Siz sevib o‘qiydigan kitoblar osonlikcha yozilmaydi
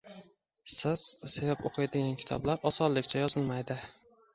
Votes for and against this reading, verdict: 2, 0, accepted